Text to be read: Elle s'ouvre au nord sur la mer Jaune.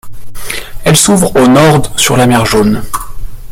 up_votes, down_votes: 0, 2